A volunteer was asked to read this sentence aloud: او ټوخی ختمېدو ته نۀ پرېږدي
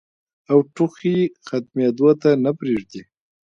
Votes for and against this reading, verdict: 1, 2, rejected